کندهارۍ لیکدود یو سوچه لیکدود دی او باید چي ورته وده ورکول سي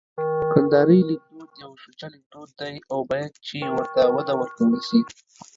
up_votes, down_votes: 1, 2